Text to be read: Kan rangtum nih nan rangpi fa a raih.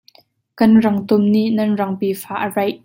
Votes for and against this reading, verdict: 2, 1, accepted